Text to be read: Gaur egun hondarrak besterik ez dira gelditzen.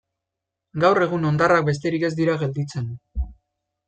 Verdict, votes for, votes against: accepted, 2, 0